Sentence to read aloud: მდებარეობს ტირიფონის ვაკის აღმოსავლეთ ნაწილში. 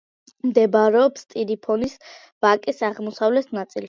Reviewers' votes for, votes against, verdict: 2, 1, accepted